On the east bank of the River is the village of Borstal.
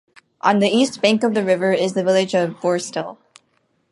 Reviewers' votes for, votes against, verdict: 4, 0, accepted